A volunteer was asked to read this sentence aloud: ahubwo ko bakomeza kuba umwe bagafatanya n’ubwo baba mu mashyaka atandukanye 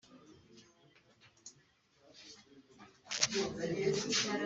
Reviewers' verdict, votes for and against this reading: rejected, 0, 2